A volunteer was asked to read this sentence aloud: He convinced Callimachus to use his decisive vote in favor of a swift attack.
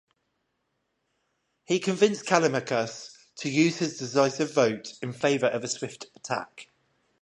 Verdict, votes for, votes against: accepted, 5, 0